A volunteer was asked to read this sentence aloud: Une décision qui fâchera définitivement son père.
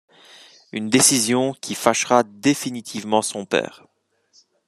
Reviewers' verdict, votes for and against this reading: accepted, 2, 0